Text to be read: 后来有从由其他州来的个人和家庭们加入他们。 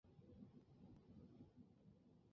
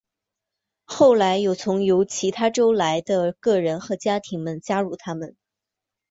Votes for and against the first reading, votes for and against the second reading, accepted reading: 2, 6, 2, 0, second